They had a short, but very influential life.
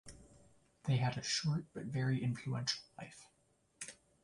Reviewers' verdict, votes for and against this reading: accepted, 2, 1